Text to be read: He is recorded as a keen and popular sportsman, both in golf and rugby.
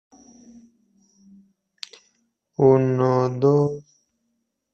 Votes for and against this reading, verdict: 0, 2, rejected